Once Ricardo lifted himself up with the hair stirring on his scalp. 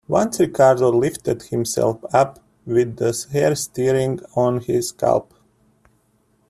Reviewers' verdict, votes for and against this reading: rejected, 0, 2